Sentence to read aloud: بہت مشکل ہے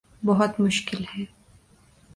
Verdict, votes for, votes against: accepted, 2, 0